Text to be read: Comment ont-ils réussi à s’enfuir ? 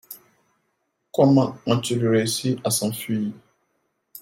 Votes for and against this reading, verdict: 2, 0, accepted